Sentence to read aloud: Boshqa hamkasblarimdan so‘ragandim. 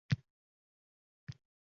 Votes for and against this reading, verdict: 0, 2, rejected